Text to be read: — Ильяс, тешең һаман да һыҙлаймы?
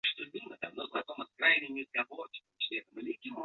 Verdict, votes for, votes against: rejected, 0, 2